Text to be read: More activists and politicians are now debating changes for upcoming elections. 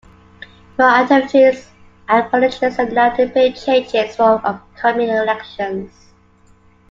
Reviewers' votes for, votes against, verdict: 0, 2, rejected